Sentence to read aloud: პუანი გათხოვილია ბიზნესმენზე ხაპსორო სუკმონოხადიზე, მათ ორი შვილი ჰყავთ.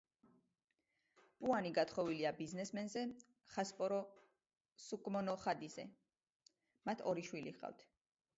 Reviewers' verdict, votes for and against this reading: rejected, 0, 2